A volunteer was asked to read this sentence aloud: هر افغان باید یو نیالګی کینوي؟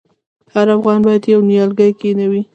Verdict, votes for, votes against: rejected, 1, 2